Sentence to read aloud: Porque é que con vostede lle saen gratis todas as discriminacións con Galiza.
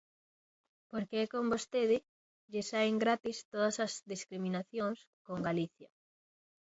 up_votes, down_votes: 1, 2